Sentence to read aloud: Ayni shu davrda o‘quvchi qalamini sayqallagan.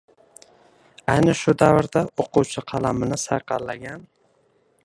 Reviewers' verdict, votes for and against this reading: rejected, 1, 2